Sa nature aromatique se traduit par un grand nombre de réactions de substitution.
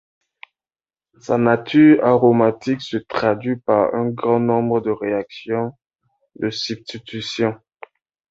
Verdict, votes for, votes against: accepted, 2, 0